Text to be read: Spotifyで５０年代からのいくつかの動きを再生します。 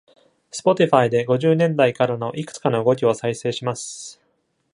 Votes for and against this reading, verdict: 0, 2, rejected